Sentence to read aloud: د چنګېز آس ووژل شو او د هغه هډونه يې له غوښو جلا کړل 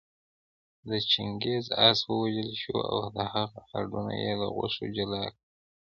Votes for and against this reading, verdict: 3, 0, accepted